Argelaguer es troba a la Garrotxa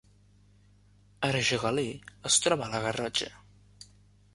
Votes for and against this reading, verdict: 1, 2, rejected